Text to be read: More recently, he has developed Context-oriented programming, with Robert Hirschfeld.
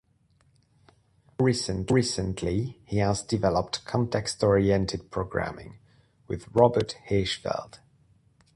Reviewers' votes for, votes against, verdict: 0, 2, rejected